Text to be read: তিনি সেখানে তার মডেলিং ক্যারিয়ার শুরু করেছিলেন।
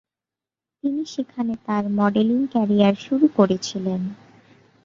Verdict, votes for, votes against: accepted, 3, 1